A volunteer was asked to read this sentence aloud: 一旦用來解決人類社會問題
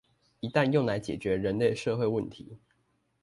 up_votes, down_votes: 2, 0